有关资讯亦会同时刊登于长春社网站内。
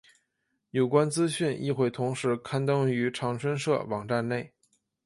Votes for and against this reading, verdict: 2, 0, accepted